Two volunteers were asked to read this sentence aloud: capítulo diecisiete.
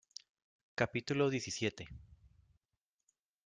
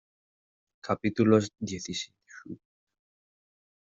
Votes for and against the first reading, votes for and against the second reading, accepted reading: 2, 0, 0, 2, first